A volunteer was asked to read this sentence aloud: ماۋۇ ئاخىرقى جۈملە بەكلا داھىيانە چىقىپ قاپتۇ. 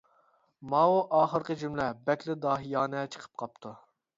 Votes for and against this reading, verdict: 4, 0, accepted